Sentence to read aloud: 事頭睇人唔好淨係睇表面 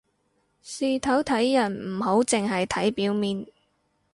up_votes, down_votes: 4, 0